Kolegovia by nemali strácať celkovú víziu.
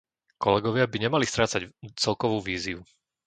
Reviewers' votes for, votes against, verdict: 1, 2, rejected